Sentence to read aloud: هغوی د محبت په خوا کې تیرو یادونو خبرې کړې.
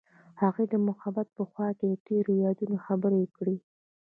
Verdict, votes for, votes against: accepted, 2, 0